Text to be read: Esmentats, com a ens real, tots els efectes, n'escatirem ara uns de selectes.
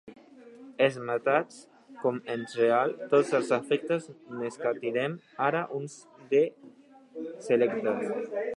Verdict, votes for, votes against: rejected, 0, 2